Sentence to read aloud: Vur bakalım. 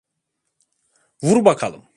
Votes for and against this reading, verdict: 2, 0, accepted